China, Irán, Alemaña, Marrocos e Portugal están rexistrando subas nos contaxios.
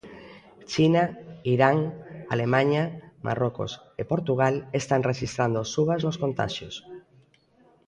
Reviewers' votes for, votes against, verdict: 1, 2, rejected